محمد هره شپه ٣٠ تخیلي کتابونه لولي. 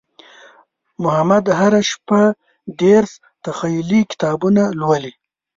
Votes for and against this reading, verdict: 0, 2, rejected